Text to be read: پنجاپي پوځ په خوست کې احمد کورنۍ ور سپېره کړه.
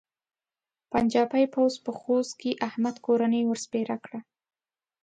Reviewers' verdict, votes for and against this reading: accepted, 2, 0